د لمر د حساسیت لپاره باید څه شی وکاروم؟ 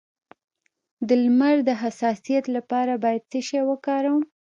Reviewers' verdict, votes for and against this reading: accepted, 2, 0